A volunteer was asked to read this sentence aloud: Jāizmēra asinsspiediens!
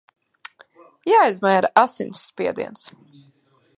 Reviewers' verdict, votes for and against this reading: rejected, 0, 2